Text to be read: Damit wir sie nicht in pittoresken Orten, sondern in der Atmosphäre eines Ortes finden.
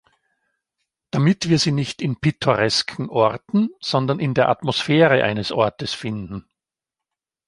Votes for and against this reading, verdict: 2, 0, accepted